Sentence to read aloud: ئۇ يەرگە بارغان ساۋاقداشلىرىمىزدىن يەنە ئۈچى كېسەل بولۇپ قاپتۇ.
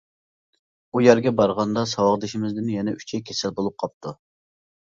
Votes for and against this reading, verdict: 0, 2, rejected